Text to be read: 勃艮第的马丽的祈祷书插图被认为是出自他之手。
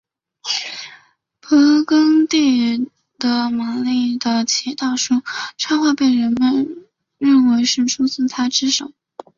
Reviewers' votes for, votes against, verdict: 2, 1, accepted